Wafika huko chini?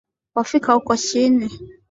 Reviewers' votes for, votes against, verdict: 9, 3, accepted